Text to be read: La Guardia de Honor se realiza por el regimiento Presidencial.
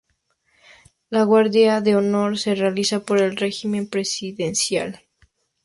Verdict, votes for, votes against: rejected, 0, 2